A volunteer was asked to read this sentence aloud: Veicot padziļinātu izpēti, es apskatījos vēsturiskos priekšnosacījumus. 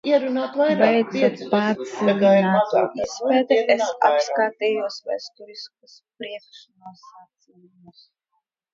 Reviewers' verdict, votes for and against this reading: rejected, 0, 2